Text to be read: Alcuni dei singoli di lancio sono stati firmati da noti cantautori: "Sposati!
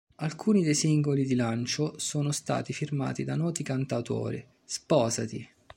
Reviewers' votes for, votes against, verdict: 2, 0, accepted